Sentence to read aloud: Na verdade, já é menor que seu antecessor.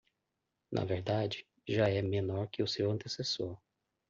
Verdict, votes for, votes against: rejected, 0, 2